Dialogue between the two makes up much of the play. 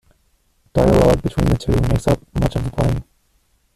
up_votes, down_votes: 0, 2